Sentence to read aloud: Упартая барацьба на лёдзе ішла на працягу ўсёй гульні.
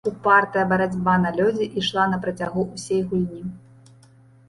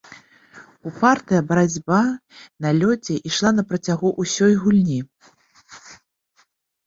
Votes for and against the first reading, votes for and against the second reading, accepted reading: 1, 2, 2, 0, second